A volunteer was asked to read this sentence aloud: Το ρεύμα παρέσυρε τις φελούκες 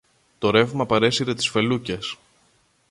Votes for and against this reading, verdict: 2, 0, accepted